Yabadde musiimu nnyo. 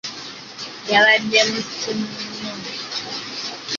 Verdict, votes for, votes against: rejected, 1, 2